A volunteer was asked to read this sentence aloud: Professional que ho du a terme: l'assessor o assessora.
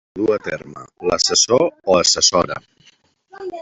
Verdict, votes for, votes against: rejected, 1, 2